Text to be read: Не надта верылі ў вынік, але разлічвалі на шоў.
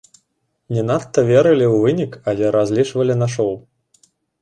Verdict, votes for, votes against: accepted, 2, 0